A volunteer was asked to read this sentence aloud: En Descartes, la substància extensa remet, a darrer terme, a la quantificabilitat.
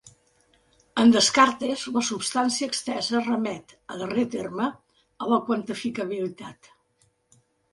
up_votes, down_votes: 2, 1